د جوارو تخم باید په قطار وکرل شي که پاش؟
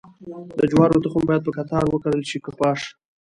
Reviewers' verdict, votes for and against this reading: rejected, 1, 2